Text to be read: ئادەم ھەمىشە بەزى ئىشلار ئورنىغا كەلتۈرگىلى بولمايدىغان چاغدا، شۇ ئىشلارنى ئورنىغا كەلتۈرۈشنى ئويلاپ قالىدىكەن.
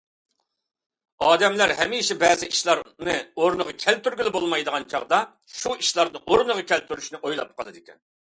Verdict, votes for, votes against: rejected, 1, 2